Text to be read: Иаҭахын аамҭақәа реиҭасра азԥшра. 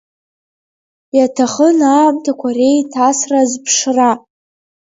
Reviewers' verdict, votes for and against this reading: accepted, 2, 1